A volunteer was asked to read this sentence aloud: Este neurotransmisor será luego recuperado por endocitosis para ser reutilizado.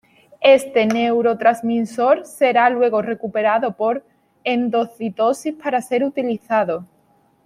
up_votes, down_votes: 1, 2